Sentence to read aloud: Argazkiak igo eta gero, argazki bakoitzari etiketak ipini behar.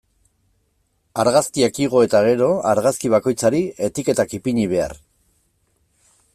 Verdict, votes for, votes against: accepted, 2, 0